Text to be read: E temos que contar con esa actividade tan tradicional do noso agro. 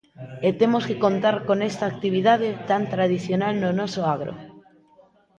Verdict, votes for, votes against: rejected, 1, 3